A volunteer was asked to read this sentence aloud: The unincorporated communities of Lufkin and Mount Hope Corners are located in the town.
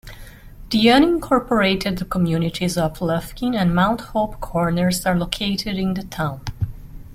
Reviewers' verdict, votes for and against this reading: accepted, 2, 0